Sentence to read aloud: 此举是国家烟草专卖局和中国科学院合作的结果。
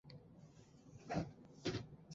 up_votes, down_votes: 0, 2